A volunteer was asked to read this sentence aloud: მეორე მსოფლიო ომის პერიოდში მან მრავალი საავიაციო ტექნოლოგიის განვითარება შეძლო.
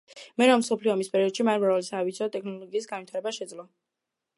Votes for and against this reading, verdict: 2, 0, accepted